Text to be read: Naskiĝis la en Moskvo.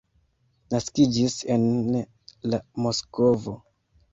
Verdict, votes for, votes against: rejected, 1, 2